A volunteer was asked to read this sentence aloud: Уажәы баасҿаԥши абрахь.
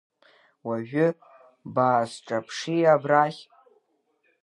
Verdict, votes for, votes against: accepted, 2, 0